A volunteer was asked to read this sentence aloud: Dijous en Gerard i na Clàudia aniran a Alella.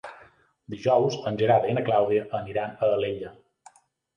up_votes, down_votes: 3, 0